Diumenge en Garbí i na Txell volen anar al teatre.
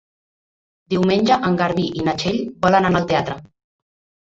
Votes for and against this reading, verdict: 0, 2, rejected